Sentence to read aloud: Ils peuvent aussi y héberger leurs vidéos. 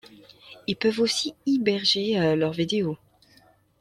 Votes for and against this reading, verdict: 1, 2, rejected